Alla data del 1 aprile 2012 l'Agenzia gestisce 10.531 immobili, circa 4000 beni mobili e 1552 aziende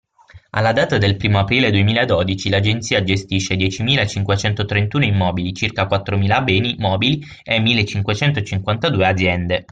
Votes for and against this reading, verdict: 0, 2, rejected